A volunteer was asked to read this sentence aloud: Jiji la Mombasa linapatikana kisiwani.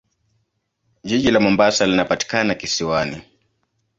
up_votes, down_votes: 2, 0